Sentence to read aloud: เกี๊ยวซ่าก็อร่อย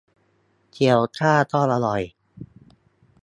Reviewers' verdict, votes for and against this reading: rejected, 0, 2